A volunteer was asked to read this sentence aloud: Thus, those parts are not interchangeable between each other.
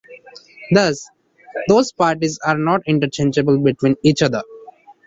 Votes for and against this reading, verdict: 0, 2, rejected